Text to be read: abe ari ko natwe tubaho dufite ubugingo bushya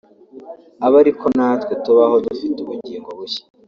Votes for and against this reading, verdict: 2, 0, accepted